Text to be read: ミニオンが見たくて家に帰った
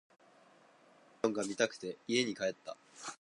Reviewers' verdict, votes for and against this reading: rejected, 2, 2